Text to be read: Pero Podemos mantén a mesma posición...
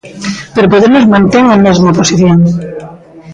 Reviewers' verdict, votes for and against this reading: rejected, 1, 2